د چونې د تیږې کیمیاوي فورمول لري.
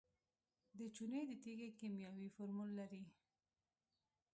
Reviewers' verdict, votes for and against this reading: rejected, 0, 2